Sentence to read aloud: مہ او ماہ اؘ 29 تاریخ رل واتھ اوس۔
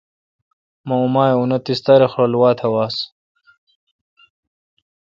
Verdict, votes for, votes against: rejected, 0, 2